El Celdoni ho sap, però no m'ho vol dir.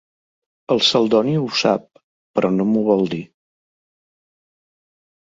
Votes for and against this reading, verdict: 3, 0, accepted